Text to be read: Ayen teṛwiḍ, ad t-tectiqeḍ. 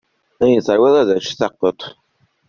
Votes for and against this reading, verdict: 1, 2, rejected